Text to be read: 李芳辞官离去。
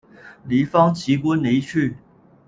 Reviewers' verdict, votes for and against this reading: rejected, 1, 2